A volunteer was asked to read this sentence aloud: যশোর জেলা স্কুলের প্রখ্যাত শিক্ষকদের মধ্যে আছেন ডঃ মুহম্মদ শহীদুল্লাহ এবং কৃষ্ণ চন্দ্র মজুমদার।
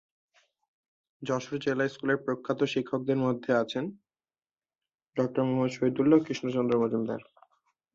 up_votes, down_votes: 1, 2